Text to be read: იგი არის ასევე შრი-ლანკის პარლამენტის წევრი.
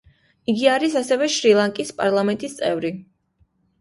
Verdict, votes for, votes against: accepted, 2, 0